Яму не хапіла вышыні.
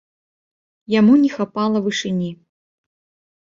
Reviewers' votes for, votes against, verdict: 0, 2, rejected